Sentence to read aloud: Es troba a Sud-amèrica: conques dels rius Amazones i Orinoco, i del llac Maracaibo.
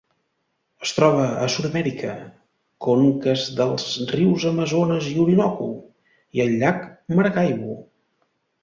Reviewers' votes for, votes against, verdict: 0, 2, rejected